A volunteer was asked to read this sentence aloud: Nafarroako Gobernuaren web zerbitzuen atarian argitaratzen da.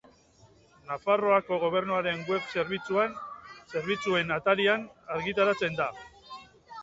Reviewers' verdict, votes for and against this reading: rejected, 0, 2